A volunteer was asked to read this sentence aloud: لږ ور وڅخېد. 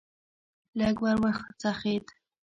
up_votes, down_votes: 1, 2